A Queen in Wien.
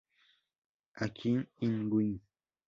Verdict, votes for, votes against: accepted, 2, 0